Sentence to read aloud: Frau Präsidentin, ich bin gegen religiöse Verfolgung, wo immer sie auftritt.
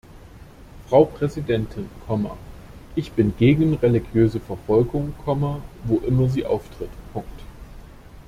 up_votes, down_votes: 0, 2